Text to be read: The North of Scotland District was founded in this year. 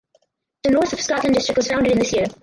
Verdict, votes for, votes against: rejected, 0, 4